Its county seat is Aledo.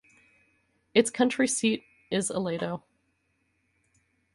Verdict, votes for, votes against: rejected, 2, 2